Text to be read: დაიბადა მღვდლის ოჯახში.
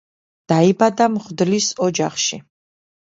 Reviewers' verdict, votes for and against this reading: accepted, 2, 0